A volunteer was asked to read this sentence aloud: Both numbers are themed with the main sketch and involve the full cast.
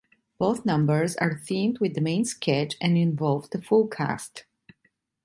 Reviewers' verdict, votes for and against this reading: accepted, 2, 0